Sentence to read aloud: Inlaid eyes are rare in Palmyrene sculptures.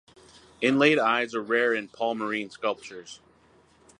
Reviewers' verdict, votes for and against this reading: accepted, 4, 0